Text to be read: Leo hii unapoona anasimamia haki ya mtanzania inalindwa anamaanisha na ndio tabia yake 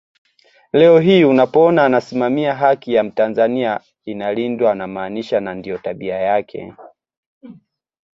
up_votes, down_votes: 2, 0